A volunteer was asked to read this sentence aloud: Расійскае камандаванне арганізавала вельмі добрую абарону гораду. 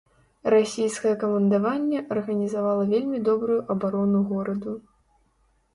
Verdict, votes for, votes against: rejected, 0, 2